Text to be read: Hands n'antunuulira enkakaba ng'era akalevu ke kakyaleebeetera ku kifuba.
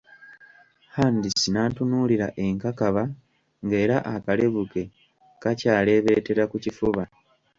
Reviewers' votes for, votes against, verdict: 2, 1, accepted